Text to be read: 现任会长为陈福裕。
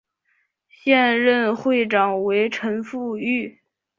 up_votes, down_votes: 3, 0